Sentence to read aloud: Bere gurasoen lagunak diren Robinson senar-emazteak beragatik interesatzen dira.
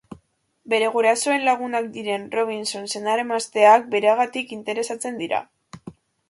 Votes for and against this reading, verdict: 2, 0, accepted